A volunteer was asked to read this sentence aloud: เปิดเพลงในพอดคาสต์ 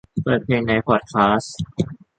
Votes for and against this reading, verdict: 2, 0, accepted